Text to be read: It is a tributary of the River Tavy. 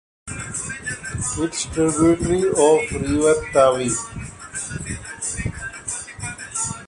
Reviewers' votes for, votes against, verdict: 0, 2, rejected